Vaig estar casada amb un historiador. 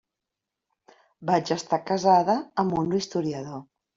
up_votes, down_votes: 3, 0